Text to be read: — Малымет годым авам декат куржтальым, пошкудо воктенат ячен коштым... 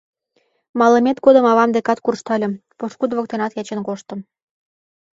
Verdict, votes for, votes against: accepted, 2, 0